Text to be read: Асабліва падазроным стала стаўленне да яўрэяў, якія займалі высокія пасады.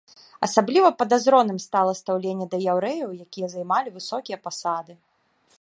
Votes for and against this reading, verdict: 1, 2, rejected